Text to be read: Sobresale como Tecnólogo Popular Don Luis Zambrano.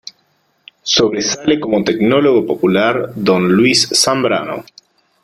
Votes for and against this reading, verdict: 4, 1, accepted